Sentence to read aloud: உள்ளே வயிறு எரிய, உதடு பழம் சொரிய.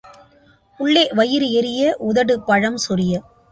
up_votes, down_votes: 2, 0